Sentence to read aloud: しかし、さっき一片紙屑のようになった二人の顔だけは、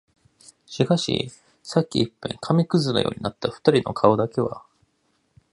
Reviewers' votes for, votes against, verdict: 2, 0, accepted